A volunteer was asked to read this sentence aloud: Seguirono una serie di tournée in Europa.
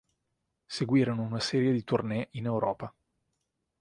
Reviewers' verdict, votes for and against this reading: accepted, 4, 0